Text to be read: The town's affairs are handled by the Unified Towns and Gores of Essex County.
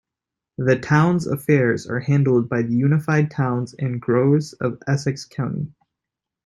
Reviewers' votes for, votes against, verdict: 1, 2, rejected